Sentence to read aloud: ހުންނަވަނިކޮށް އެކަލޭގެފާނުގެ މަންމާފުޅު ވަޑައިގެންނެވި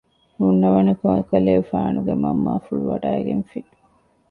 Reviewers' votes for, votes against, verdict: 0, 2, rejected